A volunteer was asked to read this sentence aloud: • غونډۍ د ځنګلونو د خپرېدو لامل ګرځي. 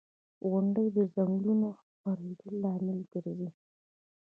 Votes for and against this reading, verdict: 0, 2, rejected